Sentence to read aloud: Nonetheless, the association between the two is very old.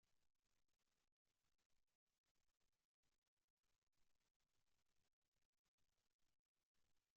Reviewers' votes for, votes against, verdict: 0, 2, rejected